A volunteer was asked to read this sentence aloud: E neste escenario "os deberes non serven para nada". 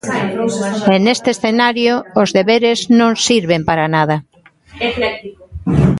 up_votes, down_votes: 0, 2